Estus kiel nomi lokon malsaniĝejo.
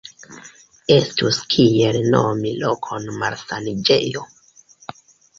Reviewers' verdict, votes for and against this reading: accepted, 2, 1